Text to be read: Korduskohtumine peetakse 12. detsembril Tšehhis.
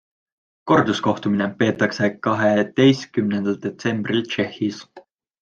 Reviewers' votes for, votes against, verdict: 0, 2, rejected